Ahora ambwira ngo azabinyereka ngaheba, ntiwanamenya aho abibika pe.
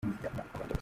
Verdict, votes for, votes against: rejected, 0, 2